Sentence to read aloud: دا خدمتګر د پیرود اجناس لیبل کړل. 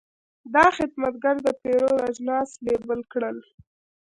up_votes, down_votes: 2, 1